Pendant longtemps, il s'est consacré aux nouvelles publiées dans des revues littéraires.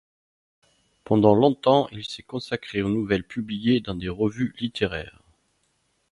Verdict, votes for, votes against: accepted, 2, 0